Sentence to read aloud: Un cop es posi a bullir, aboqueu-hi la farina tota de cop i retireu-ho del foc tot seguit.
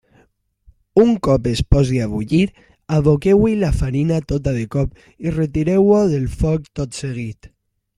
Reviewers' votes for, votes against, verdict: 2, 0, accepted